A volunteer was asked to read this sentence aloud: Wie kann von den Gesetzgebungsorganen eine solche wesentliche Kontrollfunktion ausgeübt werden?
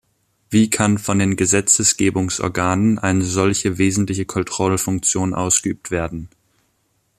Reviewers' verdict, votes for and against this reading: rejected, 0, 2